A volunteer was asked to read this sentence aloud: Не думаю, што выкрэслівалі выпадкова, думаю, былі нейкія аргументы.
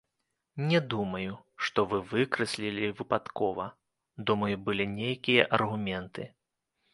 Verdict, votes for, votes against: rejected, 0, 2